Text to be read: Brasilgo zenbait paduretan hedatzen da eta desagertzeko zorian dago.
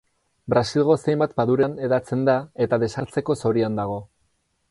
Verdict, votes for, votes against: rejected, 0, 2